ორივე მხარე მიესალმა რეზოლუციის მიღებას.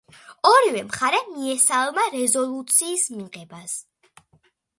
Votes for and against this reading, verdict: 2, 0, accepted